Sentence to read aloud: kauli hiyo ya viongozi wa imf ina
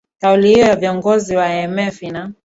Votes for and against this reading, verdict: 2, 1, accepted